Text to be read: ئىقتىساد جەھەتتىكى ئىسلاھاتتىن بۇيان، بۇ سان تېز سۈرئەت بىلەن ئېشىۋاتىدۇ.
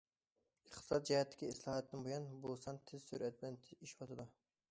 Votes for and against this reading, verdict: 0, 2, rejected